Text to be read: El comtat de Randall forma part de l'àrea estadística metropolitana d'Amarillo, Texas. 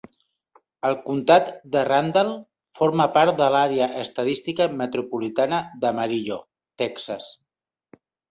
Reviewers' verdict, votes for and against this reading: accepted, 3, 0